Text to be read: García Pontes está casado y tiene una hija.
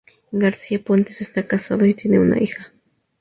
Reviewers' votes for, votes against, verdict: 4, 0, accepted